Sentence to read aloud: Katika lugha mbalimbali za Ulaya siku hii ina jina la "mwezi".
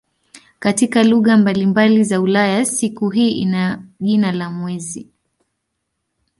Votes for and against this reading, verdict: 2, 0, accepted